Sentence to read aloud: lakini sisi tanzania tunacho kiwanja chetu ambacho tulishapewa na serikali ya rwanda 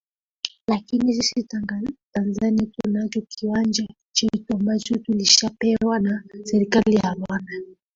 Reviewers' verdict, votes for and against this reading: rejected, 1, 2